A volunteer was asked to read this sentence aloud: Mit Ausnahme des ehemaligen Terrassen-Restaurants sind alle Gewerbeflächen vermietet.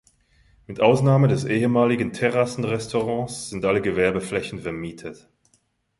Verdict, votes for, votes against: rejected, 1, 2